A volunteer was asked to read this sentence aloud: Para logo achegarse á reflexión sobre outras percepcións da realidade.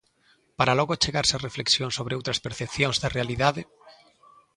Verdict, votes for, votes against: accepted, 2, 0